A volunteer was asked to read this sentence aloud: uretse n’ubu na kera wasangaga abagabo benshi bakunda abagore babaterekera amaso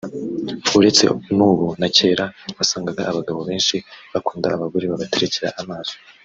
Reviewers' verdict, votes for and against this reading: accepted, 2, 0